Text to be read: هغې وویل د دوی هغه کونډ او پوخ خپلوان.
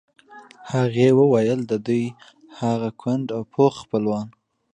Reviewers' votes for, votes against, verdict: 2, 0, accepted